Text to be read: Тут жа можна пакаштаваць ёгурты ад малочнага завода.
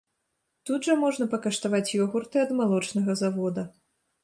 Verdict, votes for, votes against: accepted, 2, 0